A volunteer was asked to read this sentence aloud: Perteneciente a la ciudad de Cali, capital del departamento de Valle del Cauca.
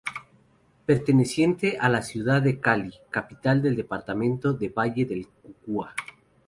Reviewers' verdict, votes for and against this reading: rejected, 0, 2